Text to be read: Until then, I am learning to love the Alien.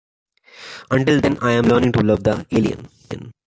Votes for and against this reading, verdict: 1, 2, rejected